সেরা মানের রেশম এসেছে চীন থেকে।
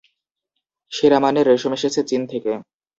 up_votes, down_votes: 2, 0